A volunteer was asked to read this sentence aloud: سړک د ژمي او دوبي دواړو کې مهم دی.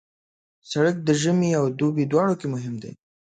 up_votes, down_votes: 2, 0